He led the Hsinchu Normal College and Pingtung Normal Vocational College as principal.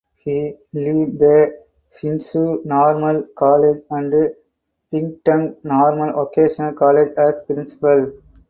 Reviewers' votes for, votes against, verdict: 2, 4, rejected